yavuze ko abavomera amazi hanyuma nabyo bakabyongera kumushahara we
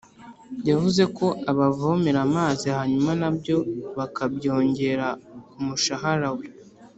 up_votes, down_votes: 2, 0